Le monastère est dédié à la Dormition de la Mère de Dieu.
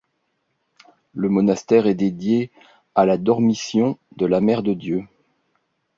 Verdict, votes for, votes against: accepted, 2, 0